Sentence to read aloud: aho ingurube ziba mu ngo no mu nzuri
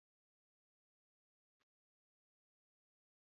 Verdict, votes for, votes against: rejected, 0, 2